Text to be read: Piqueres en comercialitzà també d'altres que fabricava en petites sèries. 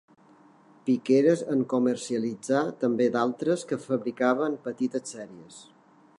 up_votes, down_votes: 2, 0